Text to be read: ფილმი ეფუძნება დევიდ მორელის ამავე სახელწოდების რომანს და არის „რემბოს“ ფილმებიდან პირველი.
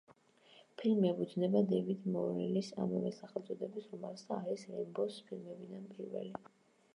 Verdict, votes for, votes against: rejected, 1, 2